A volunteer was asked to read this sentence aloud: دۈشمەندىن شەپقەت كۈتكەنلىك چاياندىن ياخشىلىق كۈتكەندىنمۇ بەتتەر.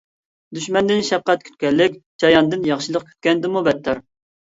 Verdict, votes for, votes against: accepted, 2, 0